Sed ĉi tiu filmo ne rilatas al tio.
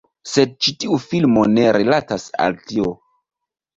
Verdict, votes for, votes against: accepted, 2, 0